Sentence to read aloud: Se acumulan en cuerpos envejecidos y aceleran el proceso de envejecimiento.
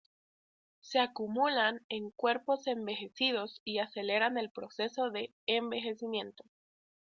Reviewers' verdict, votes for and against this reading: accepted, 2, 0